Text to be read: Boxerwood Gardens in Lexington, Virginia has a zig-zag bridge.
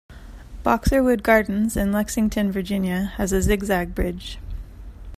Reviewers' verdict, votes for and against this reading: accepted, 2, 0